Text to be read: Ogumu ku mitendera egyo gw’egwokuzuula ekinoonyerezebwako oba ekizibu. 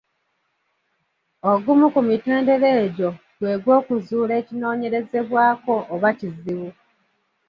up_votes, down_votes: 1, 2